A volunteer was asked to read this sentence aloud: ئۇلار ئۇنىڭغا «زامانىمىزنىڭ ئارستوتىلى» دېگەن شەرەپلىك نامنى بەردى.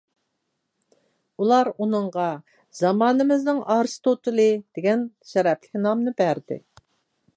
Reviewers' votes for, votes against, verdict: 2, 0, accepted